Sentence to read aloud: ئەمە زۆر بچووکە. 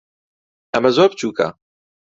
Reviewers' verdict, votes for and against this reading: accepted, 2, 0